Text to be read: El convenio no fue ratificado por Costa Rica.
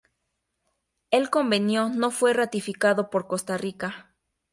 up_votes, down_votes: 2, 0